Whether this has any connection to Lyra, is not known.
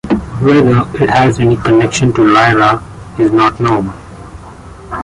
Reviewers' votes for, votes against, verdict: 1, 2, rejected